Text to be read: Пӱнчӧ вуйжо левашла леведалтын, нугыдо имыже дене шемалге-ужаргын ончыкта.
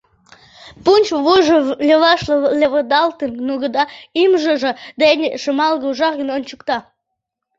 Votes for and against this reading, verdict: 0, 2, rejected